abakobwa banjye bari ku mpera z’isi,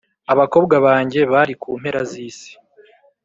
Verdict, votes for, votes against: accepted, 2, 0